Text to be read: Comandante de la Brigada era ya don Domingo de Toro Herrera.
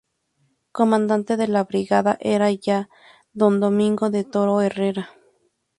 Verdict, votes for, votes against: accepted, 2, 0